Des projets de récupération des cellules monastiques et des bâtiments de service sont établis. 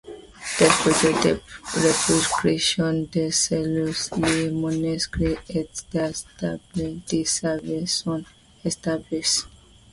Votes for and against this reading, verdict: 0, 2, rejected